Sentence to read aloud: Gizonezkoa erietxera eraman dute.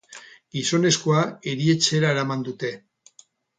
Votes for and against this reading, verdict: 4, 0, accepted